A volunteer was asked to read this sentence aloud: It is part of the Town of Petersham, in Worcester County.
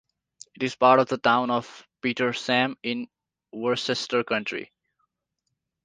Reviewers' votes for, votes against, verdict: 0, 2, rejected